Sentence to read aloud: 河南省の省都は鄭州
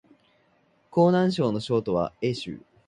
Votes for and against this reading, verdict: 0, 2, rejected